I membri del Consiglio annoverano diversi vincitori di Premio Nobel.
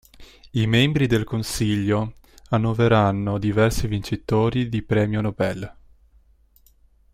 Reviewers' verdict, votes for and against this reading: rejected, 0, 2